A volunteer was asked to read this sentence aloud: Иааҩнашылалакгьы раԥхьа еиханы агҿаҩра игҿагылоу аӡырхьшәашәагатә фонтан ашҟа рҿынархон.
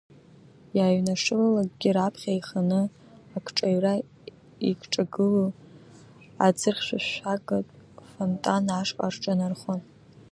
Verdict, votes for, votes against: accepted, 2, 1